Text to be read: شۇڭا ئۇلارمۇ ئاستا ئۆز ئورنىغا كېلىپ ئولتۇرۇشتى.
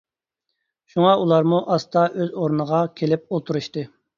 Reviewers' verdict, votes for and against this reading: accepted, 2, 0